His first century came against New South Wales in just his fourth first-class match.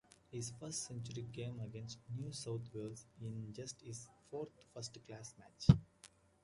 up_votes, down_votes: 2, 1